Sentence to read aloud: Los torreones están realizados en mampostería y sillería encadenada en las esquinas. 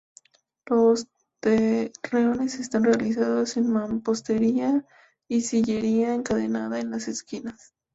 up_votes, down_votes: 2, 0